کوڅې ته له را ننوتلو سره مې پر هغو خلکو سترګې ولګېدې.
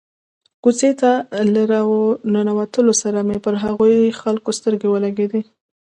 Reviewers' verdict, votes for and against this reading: accepted, 2, 0